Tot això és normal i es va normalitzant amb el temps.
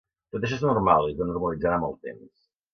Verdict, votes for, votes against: rejected, 0, 2